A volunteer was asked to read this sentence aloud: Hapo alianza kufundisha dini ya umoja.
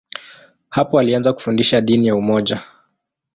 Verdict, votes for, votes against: accepted, 2, 0